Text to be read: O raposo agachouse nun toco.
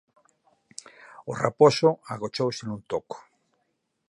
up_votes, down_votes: 0, 4